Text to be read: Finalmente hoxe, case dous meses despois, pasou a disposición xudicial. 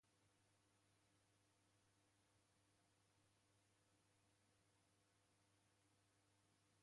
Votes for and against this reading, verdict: 0, 2, rejected